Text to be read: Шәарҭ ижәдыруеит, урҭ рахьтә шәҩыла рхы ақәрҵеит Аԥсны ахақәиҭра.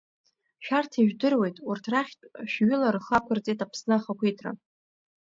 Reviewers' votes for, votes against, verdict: 2, 0, accepted